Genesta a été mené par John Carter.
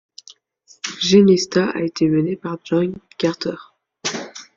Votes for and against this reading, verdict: 1, 2, rejected